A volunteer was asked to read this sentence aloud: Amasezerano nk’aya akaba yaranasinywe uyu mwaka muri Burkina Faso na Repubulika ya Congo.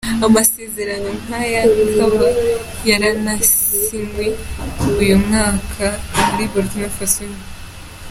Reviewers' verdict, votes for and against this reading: rejected, 0, 2